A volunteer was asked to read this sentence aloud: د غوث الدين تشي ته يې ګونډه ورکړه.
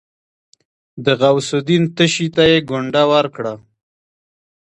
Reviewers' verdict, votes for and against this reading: accepted, 2, 0